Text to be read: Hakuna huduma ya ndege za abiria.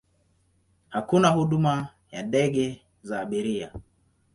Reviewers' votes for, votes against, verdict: 2, 1, accepted